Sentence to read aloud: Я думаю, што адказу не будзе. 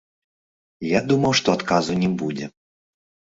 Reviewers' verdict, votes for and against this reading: accepted, 2, 1